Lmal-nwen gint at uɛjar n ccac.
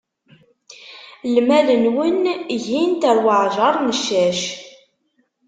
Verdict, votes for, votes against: rejected, 0, 2